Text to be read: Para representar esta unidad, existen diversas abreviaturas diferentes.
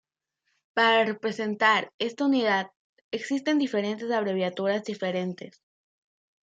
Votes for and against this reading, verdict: 0, 3, rejected